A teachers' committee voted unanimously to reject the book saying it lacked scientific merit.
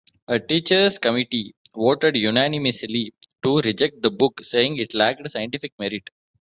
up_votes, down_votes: 2, 1